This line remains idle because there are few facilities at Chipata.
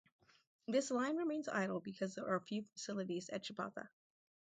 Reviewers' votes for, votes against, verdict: 2, 2, rejected